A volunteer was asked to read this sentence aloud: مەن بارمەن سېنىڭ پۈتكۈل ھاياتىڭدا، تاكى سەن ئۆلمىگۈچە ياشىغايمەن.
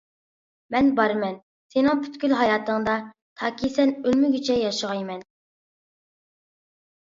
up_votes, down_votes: 2, 0